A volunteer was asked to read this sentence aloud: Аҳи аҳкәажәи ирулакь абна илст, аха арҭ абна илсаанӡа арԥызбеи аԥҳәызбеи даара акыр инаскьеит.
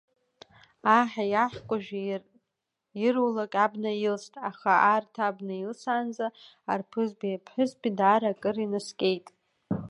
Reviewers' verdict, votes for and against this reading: rejected, 0, 2